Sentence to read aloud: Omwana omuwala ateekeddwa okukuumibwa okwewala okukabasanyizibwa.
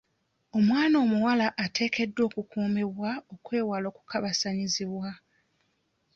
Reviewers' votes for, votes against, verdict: 2, 0, accepted